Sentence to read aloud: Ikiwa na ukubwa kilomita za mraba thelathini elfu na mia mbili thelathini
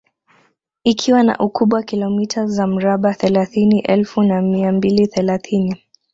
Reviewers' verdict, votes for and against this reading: accepted, 2, 0